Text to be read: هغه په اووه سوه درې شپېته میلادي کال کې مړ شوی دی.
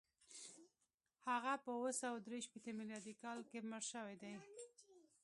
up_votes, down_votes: 2, 0